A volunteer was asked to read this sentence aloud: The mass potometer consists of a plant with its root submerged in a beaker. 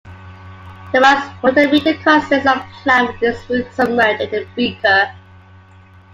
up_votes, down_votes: 2, 0